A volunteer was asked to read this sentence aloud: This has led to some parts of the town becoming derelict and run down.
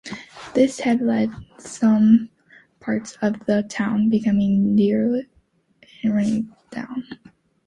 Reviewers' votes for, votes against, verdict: 0, 2, rejected